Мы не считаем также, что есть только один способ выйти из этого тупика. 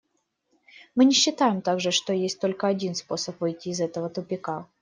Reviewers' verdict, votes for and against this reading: accepted, 2, 0